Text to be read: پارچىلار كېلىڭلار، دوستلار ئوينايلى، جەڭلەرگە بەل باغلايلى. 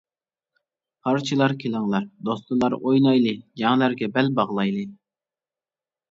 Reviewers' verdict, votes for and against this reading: rejected, 1, 2